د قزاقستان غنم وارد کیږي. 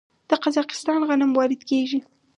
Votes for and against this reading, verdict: 2, 2, rejected